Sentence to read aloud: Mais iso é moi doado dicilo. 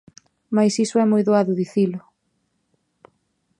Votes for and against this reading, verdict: 2, 0, accepted